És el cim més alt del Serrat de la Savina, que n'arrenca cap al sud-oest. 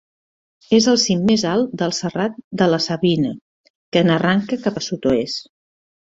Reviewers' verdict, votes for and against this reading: accepted, 2, 0